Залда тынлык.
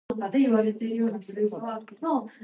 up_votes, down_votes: 0, 2